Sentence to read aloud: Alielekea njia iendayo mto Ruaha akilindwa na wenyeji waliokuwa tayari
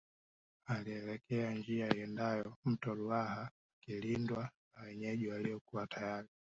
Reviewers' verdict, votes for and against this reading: accepted, 2, 0